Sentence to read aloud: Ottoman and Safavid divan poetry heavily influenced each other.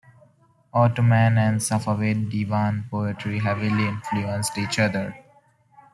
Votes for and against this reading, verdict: 2, 0, accepted